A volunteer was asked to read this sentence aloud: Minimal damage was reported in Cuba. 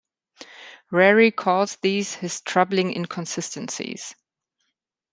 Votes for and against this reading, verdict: 0, 2, rejected